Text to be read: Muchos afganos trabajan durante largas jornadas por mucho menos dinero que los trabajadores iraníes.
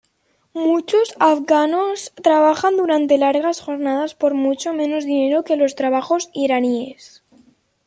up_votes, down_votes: 1, 2